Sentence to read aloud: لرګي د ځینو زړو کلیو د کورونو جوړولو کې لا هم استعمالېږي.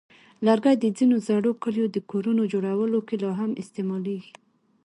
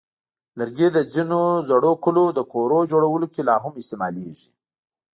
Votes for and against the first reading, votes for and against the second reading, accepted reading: 2, 1, 1, 2, first